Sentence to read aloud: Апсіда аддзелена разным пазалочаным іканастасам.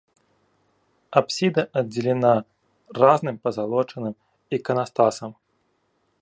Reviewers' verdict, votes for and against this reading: rejected, 0, 2